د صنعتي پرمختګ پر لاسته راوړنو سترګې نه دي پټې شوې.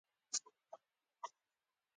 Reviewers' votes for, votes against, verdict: 0, 2, rejected